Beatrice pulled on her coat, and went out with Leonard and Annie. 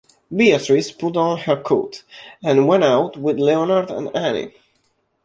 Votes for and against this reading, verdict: 1, 2, rejected